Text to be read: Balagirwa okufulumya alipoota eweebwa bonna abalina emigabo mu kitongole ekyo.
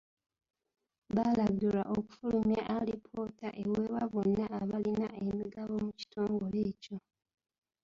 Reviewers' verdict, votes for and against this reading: rejected, 1, 2